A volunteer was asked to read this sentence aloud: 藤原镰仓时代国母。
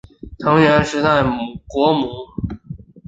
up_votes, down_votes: 1, 4